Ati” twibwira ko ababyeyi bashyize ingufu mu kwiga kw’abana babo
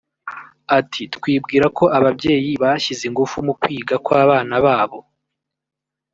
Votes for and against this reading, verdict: 0, 2, rejected